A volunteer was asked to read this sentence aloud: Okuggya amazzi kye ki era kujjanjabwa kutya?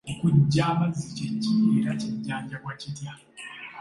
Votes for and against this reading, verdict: 2, 0, accepted